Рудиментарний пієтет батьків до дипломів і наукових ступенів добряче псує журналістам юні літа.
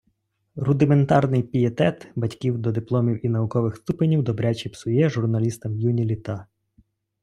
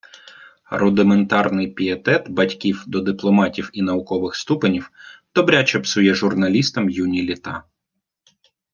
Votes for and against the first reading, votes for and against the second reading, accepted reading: 2, 0, 1, 2, first